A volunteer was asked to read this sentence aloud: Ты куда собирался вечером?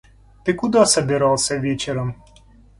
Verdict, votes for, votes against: accepted, 2, 1